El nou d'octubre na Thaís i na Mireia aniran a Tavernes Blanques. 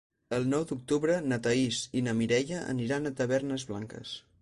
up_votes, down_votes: 4, 0